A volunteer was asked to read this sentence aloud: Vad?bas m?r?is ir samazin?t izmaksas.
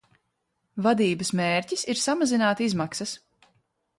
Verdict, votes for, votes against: rejected, 1, 2